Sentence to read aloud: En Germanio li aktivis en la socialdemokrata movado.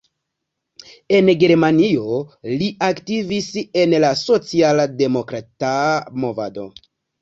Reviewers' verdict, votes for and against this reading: rejected, 1, 2